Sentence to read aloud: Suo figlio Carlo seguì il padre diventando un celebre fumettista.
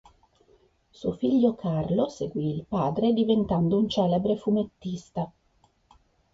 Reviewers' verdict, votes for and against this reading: accepted, 2, 0